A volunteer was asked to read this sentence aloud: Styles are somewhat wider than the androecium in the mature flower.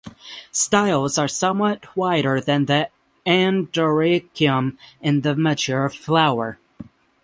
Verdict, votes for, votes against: rejected, 3, 6